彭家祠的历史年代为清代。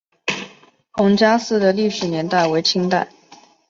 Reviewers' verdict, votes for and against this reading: accepted, 2, 0